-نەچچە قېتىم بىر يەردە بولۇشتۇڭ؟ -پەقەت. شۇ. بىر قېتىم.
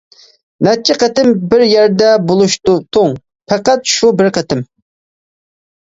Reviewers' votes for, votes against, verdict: 0, 2, rejected